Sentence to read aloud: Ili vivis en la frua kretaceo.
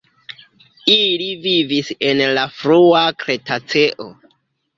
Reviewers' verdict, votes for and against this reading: rejected, 1, 2